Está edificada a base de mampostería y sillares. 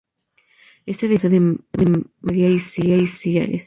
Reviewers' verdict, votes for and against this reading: rejected, 0, 2